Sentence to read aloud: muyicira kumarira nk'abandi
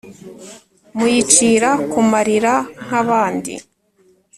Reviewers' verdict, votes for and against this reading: accepted, 2, 0